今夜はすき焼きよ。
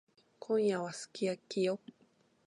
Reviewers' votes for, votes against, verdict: 0, 2, rejected